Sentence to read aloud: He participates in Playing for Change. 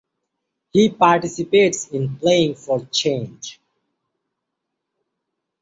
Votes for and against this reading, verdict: 3, 0, accepted